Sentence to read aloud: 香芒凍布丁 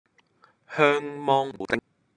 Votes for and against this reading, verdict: 0, 2, rejected